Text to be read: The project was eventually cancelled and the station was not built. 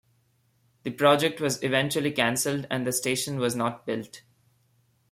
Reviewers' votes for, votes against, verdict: 2, 0, accepted